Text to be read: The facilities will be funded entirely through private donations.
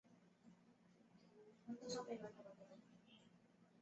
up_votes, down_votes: 0, 2